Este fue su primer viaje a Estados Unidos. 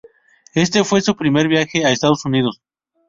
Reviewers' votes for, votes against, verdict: 2, 2, rejected